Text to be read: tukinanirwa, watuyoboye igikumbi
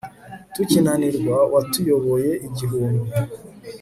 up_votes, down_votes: 1, 2